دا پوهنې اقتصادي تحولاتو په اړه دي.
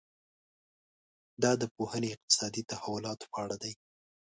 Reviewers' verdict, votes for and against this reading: accepted, 2, 1